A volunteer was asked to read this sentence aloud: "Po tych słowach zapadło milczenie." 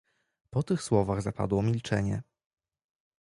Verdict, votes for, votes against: rejected, 1, 2